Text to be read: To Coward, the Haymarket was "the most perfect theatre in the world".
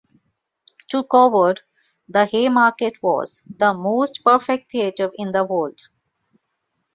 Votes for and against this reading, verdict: 1, 2, rejected